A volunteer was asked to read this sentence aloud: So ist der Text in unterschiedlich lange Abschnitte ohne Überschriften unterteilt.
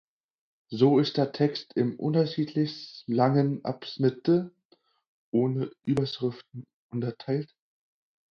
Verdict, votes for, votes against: accepted, 4, 2